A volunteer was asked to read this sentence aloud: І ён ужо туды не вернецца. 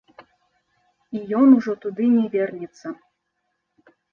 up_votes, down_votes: 2, 0